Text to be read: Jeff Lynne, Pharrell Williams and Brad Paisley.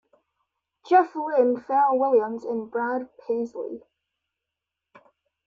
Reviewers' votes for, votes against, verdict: 2, 1, accepted